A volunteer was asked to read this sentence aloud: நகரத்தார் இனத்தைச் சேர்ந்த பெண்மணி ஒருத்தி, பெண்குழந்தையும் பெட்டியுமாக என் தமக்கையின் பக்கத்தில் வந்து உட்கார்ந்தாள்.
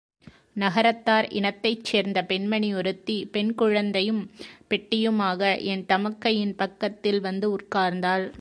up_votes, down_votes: 3, 0